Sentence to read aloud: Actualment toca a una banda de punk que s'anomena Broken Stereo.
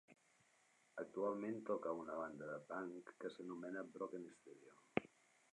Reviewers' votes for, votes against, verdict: 0, 2, rejected